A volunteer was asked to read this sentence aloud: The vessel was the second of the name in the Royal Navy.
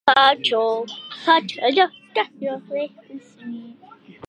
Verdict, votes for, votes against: rejected, 0, 2